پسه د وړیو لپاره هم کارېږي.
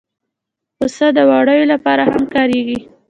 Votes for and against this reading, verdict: 0, 2, rejected